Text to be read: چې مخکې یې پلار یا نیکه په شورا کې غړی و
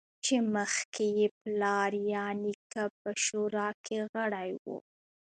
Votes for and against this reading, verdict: 1, 2, rejected